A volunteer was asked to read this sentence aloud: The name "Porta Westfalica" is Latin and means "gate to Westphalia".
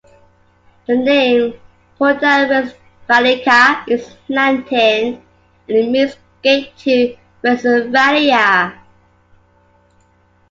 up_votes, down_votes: 0, 2